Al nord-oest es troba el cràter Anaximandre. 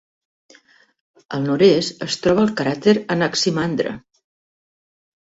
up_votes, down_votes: 2, 1